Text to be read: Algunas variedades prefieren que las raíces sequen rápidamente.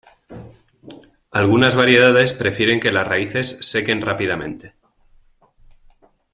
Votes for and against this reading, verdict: 2, 1, accepted